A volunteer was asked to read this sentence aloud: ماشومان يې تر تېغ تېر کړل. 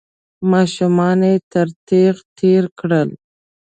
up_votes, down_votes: 3, 0